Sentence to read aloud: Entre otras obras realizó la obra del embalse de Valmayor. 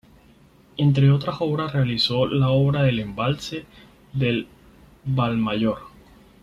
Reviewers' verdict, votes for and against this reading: rejected, 0, 4